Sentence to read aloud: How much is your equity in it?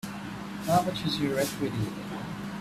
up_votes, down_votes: 3, 2